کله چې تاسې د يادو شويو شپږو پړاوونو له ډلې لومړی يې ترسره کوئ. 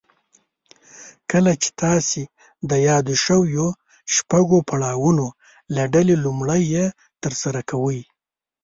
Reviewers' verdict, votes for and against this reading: rejected, 1, 2